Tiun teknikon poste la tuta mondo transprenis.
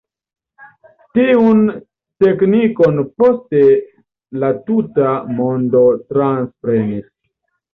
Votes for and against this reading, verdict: 0, 2, rejected